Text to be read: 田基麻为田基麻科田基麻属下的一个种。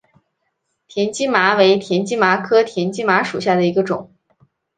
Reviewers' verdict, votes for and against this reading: accepted, 2, 0